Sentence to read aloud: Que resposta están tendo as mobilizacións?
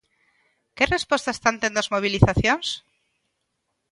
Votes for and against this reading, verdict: 2, 0, accepted